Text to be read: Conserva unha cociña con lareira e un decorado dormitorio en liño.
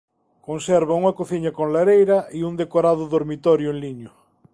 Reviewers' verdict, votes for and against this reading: accepted, 2, 0